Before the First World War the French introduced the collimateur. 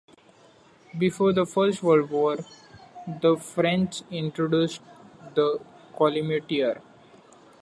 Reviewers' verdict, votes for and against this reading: accepted, 2, 1